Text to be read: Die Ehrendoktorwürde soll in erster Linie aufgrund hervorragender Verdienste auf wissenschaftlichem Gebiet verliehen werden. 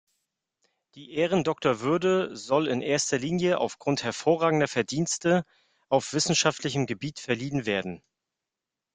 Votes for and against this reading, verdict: 2, 0, accepted